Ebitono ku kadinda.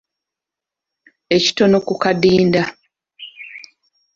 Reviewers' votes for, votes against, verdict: 1, 2, rejected